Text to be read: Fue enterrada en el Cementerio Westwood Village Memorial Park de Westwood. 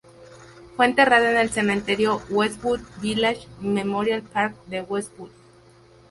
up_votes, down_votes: 0, 2